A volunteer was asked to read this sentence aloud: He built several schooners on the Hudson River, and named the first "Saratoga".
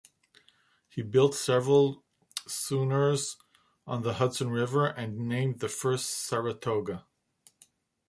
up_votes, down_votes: 0, 2